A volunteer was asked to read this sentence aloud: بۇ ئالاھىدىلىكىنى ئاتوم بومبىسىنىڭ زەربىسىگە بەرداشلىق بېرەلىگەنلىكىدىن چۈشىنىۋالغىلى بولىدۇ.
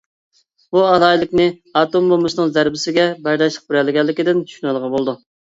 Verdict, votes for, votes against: rejected, 0, 2